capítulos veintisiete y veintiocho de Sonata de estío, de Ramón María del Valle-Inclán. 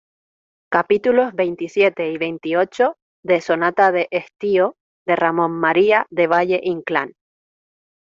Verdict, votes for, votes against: rejected, 0, 2